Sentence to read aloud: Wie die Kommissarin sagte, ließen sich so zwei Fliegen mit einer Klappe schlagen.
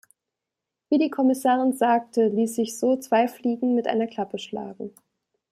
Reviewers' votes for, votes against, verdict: 1, 2, rejected